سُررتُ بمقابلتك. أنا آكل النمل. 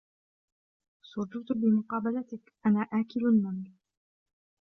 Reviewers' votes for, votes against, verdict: 1, 2, rejected